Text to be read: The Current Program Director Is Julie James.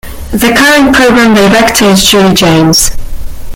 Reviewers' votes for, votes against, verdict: 0, 2, rejected